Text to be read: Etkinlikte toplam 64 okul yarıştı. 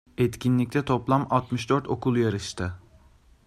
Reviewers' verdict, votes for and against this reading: rejected, 0, 2